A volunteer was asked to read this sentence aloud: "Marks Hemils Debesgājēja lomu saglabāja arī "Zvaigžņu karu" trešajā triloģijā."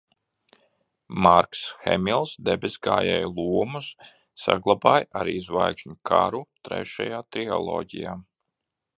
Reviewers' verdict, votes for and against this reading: rejected, 1, 2